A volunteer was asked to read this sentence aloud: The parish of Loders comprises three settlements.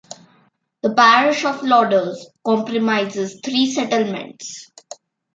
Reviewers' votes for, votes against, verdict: 0, 2, rejected